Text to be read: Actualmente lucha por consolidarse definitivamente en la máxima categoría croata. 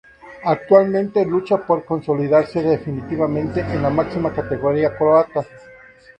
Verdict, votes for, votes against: accepted, 4, 0